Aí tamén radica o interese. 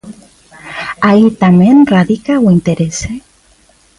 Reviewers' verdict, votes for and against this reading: accepted, 2, 0